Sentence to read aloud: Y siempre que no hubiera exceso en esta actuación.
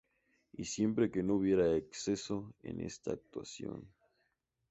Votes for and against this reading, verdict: 2, 0, accepted